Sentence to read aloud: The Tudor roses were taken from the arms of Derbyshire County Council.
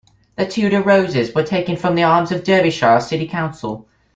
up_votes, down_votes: 1, 2